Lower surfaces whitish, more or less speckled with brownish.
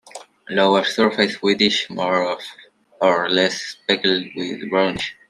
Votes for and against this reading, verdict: 0, 2, rejected